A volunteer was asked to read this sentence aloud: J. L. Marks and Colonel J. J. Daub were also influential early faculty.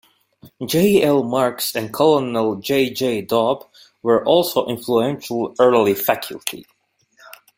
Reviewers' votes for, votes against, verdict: 2, 1, accepted